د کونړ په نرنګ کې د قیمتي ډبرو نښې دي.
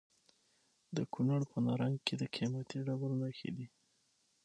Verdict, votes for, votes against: accepted, 6, 0